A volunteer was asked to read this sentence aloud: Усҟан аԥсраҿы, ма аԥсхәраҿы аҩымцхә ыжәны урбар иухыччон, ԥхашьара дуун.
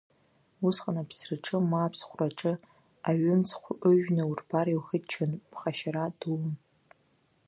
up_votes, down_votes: 2, 0